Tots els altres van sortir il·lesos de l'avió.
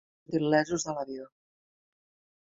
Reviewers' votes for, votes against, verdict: 1, 2, rejected